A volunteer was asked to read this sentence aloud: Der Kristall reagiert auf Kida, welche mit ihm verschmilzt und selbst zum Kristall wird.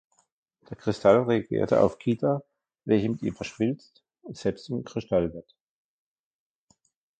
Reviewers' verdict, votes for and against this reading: rejected, 0, 2